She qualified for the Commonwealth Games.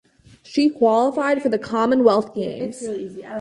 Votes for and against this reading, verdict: 4, 0, accepted